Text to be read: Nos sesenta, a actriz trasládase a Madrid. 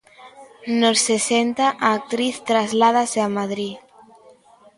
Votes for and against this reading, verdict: 2, 0, accepted